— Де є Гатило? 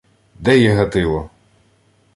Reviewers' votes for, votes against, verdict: 2, 0, accepted